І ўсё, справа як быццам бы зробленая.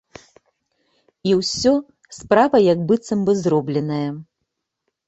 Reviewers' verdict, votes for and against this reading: accepted, 2, 0